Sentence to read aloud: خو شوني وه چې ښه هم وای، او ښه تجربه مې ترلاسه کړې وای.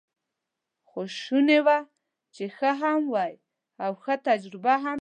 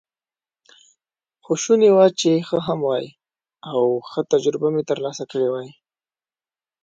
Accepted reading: second